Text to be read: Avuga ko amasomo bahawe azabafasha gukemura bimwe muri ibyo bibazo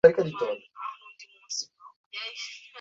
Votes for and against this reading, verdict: 0, 2, rejected